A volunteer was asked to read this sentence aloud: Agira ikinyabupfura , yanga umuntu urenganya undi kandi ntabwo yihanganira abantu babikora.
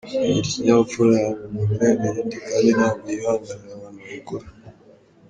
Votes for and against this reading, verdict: 2, 3, rejected